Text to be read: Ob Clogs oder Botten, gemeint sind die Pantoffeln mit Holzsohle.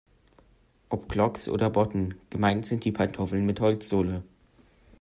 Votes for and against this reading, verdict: 2, 0, accepted